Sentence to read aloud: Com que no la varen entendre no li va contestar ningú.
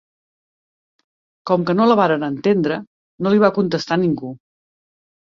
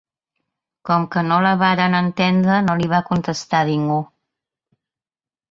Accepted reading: first